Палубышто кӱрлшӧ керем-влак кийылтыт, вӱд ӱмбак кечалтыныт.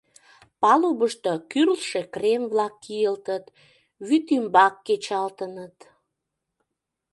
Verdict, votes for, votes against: rejected, 0, 2